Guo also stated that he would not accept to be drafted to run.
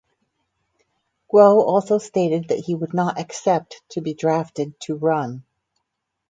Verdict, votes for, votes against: accepted, 4, 0